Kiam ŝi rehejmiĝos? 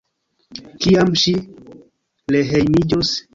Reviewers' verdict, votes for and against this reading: rejected, 1, 2